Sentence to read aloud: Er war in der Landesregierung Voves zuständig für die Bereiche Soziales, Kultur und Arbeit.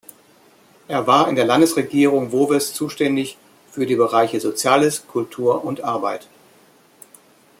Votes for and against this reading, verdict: 2, 0, accepted